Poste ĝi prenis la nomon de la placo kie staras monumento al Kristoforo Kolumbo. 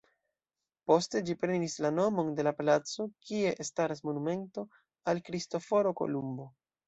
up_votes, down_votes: 2, 0